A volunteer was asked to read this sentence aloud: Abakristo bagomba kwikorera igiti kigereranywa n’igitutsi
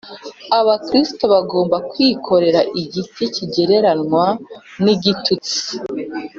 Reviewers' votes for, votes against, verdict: 2, 0, accepted